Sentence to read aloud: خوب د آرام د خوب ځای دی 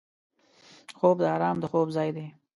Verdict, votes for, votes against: accepted, 2, 0